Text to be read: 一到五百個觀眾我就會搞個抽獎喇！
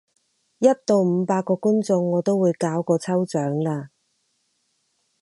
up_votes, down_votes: 2, 4